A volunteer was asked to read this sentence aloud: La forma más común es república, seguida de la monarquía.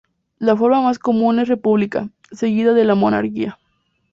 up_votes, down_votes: 2, 0